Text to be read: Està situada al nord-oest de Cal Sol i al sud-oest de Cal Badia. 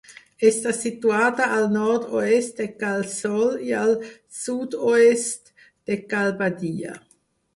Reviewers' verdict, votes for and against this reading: accepted, 4, 0